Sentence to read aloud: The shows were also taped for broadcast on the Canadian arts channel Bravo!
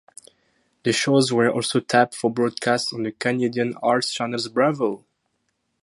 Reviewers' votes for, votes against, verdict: 0, 2, rejected